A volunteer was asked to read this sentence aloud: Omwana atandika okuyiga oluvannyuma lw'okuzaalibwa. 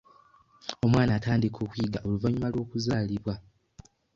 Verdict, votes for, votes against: accepted, 2, 0